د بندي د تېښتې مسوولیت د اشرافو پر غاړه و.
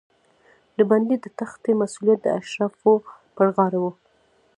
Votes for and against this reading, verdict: 0, 2, rejected